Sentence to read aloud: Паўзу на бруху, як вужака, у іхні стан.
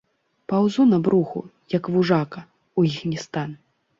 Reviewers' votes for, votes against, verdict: 2, 0, accepted